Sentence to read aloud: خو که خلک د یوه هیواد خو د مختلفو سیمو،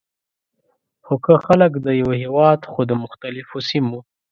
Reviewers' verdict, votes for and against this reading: accepted, 2, 0